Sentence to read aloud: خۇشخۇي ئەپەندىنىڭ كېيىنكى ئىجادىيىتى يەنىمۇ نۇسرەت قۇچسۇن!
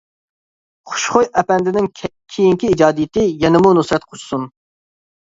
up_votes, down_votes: 1, 2